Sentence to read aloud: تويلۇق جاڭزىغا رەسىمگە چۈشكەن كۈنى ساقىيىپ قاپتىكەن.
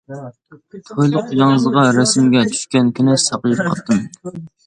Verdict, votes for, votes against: rejected, 0, 2